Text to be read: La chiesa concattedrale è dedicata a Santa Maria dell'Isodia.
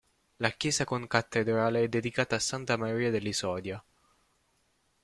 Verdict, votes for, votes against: rejected, 0, 2